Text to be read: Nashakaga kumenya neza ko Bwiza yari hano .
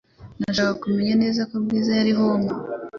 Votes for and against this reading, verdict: 1, 2, rejected